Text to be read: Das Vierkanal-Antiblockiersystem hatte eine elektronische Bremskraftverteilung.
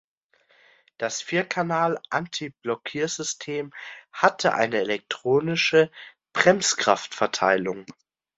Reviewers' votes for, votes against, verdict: 2, 0, accepted